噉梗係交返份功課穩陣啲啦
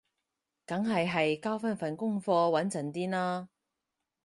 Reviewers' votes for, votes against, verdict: 0, 4, rejected